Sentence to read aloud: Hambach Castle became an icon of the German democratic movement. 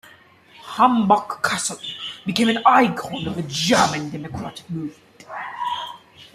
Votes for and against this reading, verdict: 2, 0, accepted